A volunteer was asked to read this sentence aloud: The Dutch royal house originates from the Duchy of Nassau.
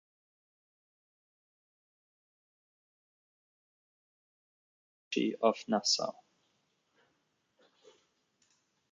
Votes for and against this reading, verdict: 0, 2, rejected